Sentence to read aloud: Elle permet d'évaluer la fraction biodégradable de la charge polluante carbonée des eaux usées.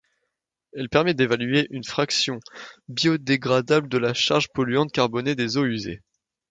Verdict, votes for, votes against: rejected, 0, 2